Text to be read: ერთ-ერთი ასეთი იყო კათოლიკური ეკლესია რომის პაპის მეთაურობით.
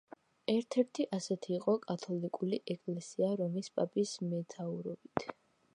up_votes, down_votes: 1, 2